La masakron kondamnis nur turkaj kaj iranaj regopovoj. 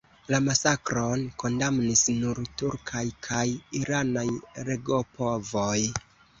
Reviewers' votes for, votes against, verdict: 1, 2, rejected